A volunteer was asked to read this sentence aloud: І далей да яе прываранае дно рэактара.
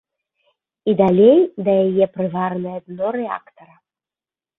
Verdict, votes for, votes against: accepted, 2, 1